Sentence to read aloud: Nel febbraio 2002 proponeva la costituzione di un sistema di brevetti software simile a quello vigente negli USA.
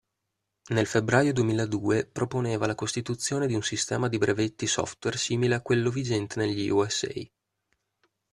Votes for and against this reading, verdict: 0, 2, rejected